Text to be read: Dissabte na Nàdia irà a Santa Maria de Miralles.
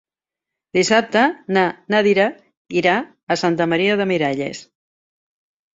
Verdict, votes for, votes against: rejected, 1, 2